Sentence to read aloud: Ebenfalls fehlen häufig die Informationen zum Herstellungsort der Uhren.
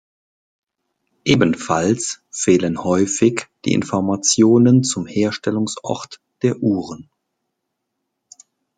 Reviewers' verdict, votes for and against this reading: accepted, 2, 0